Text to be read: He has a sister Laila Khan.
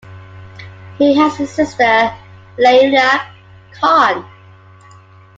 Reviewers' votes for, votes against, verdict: 2, 0, accepted